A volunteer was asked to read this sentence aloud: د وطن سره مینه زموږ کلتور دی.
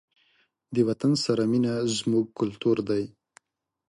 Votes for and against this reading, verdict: 2, 0, accepted